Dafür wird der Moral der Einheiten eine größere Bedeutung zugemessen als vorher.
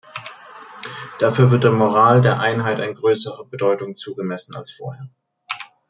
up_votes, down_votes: 0, 2